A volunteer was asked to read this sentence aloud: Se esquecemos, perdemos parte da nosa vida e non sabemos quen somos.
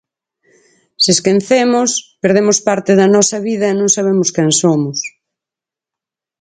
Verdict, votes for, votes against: rejected, 0, 4